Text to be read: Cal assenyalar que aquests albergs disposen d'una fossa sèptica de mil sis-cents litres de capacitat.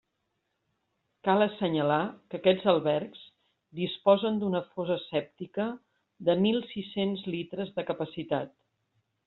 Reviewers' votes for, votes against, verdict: 2, 0, accepted